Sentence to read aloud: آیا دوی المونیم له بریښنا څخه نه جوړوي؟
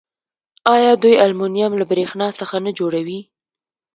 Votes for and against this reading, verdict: 2, 0, accepted